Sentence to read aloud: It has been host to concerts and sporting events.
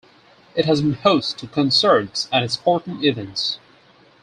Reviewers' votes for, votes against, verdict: 2, 4, rejected